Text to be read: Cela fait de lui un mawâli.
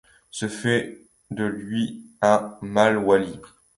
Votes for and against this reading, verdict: 1, 2, rejected